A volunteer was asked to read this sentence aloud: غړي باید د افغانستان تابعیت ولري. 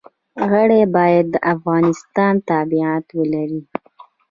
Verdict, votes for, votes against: accepted, 2, 0